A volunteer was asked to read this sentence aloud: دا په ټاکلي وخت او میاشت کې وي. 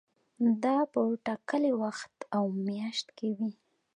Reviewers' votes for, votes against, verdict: 2, 0, accepted